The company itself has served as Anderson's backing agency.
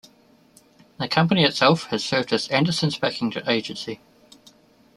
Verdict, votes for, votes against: rejected, 0, 2